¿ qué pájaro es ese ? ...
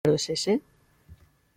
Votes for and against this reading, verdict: 0, 2, rejected